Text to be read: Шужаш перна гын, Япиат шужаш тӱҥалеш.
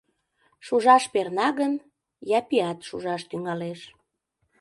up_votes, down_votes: 2, 0